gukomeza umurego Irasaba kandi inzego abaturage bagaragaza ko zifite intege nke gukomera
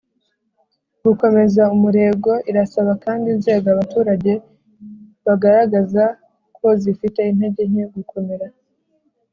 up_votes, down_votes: 2, 1